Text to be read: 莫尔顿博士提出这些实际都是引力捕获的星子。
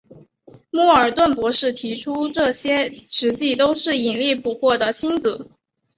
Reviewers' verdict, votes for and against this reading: accepted, 4, 0